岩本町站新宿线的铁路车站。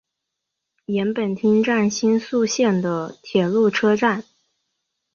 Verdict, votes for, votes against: accepted, 4, 0